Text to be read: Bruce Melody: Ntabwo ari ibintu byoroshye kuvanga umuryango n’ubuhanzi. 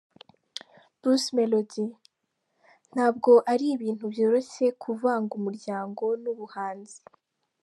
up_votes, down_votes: 3, 0